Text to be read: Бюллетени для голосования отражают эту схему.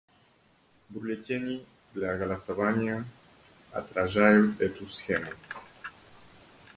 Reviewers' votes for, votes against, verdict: 1, 2, rejected